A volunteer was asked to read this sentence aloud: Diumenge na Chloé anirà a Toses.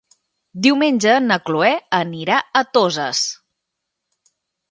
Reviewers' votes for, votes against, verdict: 2, 0, accepted